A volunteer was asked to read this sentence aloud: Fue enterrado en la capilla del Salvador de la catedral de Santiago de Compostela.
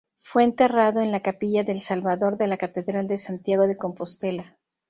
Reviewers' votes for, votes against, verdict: 2, 0, accepted